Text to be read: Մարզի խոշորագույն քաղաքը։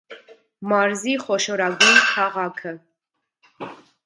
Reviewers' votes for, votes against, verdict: 1, 2, rejected